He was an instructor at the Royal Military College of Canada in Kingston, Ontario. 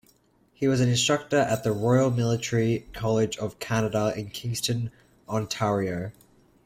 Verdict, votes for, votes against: accepted, 2, 1